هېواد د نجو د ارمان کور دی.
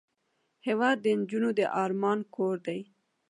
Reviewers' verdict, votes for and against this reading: accepted, 2, 1